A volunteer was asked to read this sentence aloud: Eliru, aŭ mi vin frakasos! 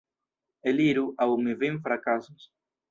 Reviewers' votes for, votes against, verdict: 1, 2, rejected